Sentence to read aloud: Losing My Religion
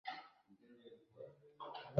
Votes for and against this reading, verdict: 0, 2, rejected